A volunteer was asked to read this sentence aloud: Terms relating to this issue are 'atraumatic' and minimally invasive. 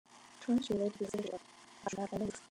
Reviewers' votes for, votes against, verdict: 1, 2, rejected